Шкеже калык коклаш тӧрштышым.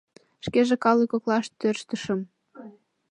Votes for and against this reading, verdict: 2, 0, accepted